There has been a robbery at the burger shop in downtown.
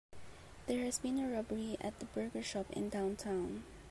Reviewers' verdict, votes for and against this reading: accepted, 3, 1